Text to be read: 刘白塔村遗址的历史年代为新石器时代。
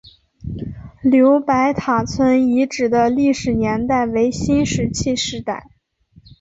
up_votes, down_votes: 2, 0